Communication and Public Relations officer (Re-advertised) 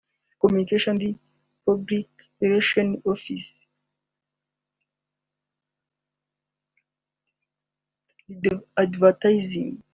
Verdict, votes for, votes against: rejected, 0, 2